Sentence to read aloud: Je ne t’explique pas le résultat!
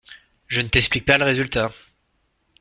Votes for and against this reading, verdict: 2, 0, accepted